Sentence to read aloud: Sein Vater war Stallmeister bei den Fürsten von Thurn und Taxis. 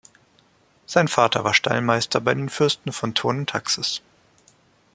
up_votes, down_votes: 0, 2